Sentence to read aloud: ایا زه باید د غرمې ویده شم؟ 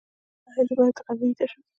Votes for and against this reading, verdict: 0, 2, rejected